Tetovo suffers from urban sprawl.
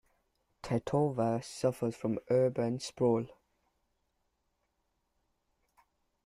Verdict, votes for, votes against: accepted, 2, 0